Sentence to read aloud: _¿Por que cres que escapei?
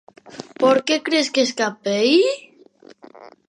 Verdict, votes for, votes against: accepted, 2, 0